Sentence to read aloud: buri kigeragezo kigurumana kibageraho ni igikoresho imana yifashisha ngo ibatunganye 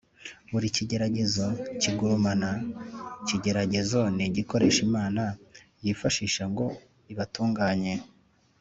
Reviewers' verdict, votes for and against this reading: rejected, 2, 3